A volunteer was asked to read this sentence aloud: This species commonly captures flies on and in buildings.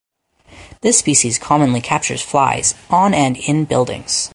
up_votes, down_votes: 4, 0